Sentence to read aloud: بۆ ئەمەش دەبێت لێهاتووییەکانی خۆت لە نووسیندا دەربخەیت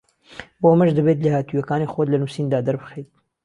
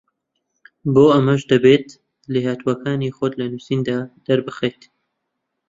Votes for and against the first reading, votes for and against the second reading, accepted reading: 2, 0, 1, 2, first